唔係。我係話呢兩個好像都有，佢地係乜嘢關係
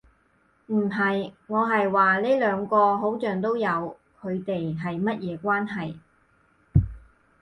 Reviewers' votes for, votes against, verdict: 4, 0, accepted